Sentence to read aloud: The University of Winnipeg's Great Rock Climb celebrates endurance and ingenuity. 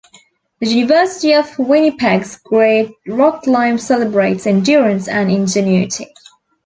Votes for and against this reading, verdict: 3, 0, accepted